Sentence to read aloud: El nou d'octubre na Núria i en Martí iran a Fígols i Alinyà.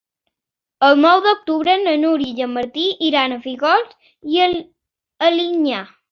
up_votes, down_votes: 0, 3